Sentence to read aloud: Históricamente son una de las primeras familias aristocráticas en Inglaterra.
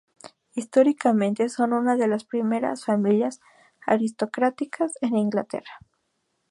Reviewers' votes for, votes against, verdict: 0, 2, rejected